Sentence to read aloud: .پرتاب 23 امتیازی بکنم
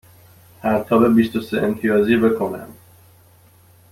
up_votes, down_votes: 0, 2